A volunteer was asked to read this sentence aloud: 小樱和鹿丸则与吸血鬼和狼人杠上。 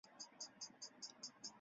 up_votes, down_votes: 0, 2